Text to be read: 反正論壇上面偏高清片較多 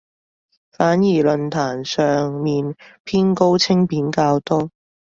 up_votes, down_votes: 0, 2